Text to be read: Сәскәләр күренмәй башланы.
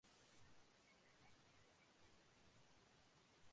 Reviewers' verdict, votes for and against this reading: rejected, 1, 2